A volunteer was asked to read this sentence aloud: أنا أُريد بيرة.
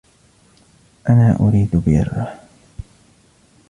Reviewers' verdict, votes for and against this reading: rejected, 1, 2